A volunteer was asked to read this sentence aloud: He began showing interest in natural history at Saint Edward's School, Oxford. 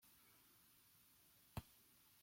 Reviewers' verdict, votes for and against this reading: rejected, 0, 2